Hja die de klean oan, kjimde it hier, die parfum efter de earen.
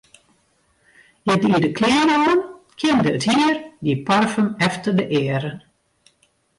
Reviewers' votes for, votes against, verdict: 0, 2, rejected